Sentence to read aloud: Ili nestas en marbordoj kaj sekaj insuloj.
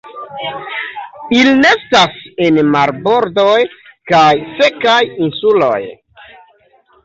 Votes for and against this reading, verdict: 3, 0, accepted